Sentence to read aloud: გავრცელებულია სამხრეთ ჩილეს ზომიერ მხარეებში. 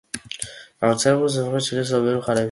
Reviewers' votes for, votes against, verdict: 0, 2, rejected